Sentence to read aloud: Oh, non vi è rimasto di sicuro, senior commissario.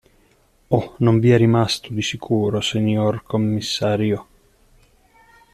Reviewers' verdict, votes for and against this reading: rejected, 1, 2